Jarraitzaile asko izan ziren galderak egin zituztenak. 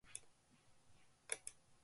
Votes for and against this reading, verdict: 0, 3, rejected